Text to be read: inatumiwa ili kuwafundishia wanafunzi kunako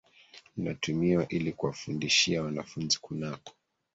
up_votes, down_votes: 1, 2